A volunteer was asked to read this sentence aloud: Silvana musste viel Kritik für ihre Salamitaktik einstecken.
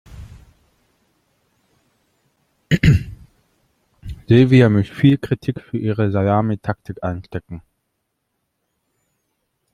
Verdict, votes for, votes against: rejected, 0, 2